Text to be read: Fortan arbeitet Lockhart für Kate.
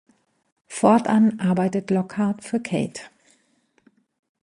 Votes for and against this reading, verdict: 2, 0, accepted